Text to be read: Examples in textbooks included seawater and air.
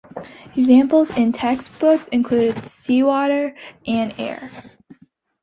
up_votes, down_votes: 2, 0